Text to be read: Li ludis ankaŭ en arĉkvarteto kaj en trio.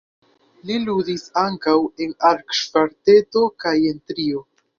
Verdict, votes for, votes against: accepted, 2, 1